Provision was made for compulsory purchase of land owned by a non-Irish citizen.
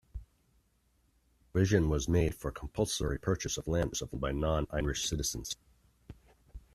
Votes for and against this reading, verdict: 0, 2, rejected